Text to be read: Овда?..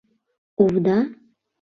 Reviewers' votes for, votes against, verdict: 2, 0, accepted